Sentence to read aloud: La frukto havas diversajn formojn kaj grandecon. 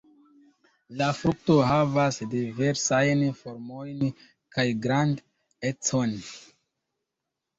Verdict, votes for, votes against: rejected, 0, 2